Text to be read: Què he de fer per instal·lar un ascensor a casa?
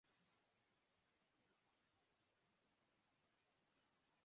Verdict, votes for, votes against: rejected, 0, 3